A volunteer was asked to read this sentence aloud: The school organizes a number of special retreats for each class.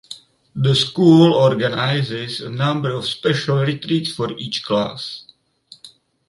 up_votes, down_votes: 4, 2